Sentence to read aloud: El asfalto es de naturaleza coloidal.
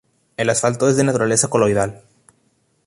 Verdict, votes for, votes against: accepted, 2, 0